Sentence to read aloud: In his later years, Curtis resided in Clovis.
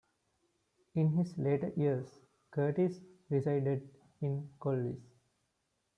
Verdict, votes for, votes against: rejected, 1, 3